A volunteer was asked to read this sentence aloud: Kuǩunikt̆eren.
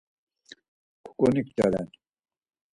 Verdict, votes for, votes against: accepted, 4, 2